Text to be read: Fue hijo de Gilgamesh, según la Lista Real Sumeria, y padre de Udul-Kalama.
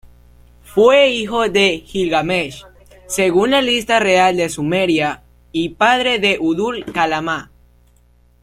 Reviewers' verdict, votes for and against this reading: rejected, 0, 2